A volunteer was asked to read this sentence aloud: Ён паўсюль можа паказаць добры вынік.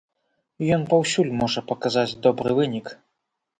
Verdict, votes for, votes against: accepted, 2, 0